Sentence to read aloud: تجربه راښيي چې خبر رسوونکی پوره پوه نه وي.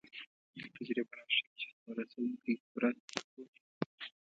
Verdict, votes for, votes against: rejected, 0, 2